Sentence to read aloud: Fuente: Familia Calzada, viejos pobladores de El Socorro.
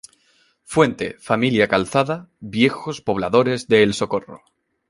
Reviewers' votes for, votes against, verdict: 2, 1, accepted